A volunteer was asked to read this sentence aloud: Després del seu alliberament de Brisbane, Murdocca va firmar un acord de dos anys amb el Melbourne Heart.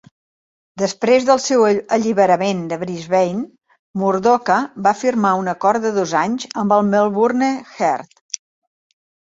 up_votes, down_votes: 1, 2